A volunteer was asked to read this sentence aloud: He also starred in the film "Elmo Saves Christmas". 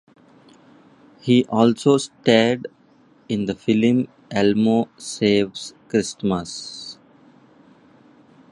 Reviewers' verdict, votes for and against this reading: accepted, 2, 0